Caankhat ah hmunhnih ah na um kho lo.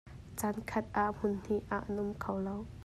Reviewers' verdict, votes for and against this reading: accepted, 2, 0